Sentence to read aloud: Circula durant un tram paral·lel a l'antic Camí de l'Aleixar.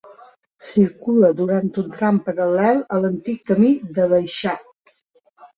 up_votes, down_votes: 2, 1